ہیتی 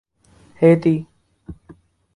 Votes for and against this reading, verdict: 6, 0, accepted